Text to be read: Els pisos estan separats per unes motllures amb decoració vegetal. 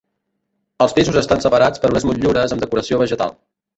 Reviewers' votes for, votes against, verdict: 0, 2, rejected